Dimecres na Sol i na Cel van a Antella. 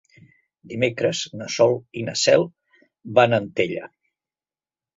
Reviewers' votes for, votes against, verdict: 4, 0, accepted